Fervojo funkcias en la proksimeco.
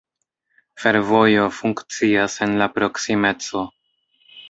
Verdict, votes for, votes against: rejected, 1, 2